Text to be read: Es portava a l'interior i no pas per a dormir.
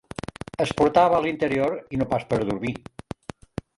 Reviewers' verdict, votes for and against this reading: rejected, 0, 2